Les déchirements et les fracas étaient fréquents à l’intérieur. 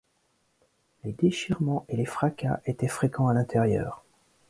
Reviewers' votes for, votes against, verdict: 2, 0, accepted